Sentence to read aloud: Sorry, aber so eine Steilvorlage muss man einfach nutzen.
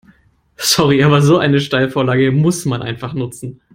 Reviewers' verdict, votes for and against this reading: accepted, 2, 0